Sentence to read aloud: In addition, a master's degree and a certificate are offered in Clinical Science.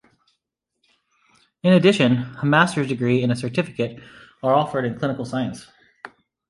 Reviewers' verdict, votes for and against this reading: accepted, 2, 0